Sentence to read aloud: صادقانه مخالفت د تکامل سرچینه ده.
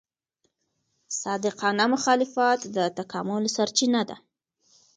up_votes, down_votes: 2, 0